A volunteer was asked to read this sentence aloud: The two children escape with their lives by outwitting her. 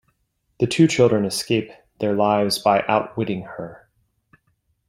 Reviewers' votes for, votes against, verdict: 2, 1, accepted